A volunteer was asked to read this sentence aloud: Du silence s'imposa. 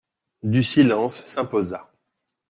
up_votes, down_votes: 2, 0